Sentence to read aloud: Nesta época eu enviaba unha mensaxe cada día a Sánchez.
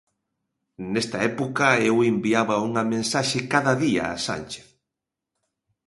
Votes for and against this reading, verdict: 2, 0, accepted